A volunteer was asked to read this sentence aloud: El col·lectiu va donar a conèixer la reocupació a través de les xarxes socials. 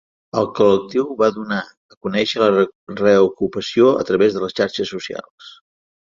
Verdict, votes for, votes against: accepted, 3, 1